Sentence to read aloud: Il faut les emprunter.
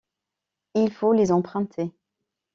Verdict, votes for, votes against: accepted, 2, 0